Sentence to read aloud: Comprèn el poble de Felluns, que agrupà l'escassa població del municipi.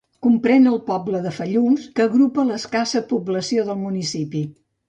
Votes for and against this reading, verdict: 1, 2, rejected